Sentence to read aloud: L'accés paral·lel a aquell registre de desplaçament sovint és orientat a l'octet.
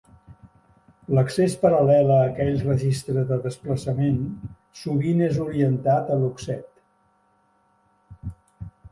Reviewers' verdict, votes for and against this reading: rejected, 0, 2